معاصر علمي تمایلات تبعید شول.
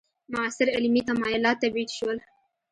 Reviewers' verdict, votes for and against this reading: accepted, 2, 0